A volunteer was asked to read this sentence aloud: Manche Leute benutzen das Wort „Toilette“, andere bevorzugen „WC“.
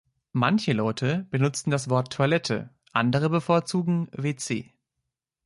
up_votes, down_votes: 2, 0